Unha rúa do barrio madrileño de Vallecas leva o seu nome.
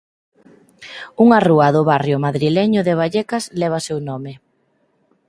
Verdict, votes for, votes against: rejected, 2, 4